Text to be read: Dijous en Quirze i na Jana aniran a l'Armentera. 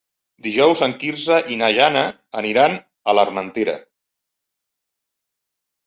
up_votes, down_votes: 2, 0